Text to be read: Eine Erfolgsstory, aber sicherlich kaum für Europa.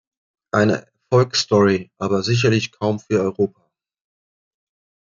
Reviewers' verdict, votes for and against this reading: rejected, 1, 2